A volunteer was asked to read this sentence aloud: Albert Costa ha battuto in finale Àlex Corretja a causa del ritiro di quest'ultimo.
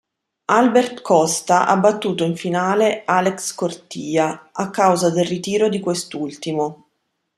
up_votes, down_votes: 1, 2